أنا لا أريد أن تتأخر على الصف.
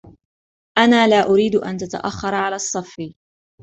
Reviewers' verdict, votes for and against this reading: accepted, 2, 0